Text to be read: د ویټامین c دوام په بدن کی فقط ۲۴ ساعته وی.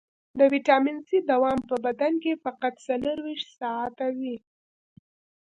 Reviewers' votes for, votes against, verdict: 0, 2, rejected